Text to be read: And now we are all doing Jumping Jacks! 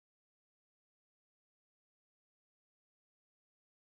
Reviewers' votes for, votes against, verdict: 0, 2, rejected